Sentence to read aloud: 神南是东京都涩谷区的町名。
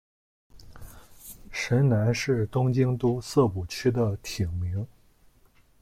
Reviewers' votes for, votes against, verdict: 1, 2, rejected